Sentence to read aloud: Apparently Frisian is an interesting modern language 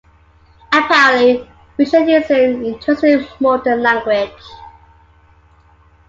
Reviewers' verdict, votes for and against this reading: rejected, 1, 2